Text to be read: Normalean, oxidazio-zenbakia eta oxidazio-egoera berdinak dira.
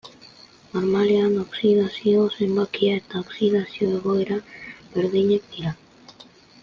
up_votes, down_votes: 1, 2